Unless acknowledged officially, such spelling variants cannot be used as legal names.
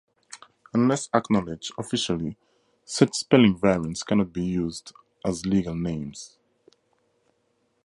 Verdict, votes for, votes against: rejected, 0, 2